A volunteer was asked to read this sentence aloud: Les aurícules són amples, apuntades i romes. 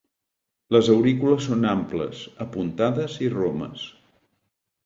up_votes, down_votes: 2, 0